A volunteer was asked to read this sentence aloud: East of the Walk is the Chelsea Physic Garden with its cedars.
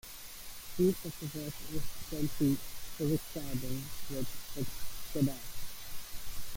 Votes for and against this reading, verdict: 0, 2, rejected